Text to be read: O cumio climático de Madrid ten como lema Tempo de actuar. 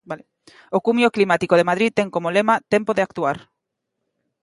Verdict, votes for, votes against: rejected, 0, 2